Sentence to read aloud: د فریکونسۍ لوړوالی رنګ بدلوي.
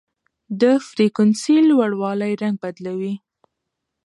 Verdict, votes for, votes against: accepted, 2, 1